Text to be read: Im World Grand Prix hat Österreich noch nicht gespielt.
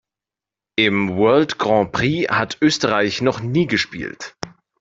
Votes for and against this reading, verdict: 0, 2, rejected